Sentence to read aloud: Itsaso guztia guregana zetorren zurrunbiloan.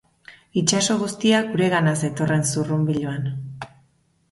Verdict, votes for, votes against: accepted, 2, 0